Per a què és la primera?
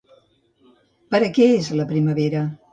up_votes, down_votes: 1, 2